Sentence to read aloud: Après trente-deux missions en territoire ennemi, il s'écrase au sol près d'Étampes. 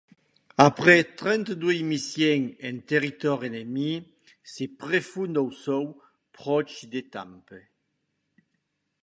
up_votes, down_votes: 0, 2